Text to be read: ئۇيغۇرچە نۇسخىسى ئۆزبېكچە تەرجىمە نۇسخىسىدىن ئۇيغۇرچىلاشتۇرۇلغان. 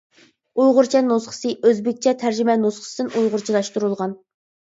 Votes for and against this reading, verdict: 2, 0, accepted